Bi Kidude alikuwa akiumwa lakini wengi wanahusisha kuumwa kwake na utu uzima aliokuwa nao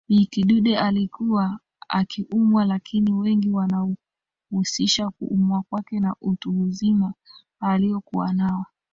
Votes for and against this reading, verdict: 2, 0, accepted